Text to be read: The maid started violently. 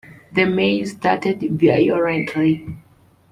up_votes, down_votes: 1, 2